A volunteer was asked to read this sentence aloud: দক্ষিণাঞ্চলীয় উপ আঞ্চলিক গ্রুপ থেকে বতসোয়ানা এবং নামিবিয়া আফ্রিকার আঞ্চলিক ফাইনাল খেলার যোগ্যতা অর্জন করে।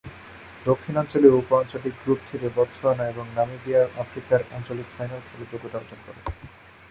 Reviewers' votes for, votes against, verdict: 2, 0, accepted